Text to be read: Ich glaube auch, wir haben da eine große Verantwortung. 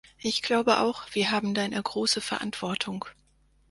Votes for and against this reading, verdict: 4, 0, accepted